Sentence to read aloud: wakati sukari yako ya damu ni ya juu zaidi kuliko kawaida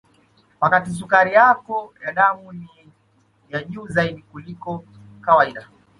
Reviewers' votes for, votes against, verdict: 1, 2, rejected